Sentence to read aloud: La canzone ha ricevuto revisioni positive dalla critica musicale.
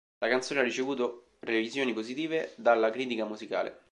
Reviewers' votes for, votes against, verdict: 2, 0, accepted